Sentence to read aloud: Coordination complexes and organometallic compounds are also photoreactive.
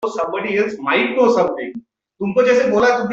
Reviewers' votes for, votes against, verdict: 0, 2, rejected